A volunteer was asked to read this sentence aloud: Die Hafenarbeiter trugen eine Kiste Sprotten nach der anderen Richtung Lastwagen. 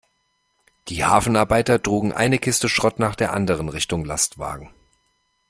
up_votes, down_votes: 0, 3